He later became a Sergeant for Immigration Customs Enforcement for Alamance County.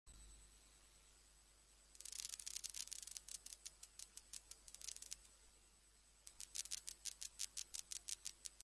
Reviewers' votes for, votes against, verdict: 0, 2, rejected